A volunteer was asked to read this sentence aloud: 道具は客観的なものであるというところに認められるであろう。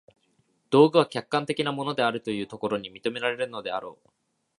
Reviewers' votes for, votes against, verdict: 1, 2, rejected